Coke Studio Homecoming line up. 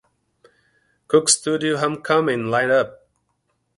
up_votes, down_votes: 2, 0